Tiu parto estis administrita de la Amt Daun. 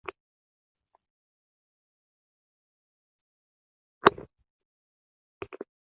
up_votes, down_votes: 0, 2